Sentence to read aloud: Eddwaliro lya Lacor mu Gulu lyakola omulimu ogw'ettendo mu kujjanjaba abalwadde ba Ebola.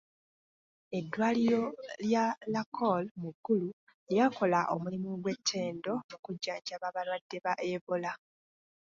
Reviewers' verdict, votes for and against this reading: rejected, 0, 2